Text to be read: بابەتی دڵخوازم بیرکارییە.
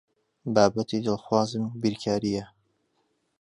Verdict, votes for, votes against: accepted, 2, 0